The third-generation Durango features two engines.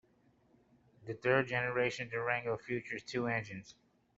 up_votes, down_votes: 2, 0